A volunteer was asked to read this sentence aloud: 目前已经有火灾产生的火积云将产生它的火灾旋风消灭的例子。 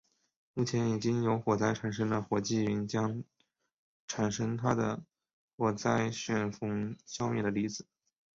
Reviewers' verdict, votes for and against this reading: rejected, 1, 2